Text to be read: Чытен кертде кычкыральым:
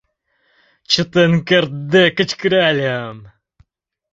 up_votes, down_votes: 2, 0